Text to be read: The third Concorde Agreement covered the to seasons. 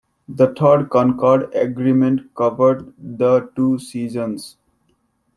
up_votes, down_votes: 2, 1